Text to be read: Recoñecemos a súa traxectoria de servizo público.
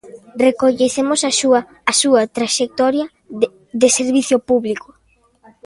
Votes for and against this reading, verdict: 0, 2, rejected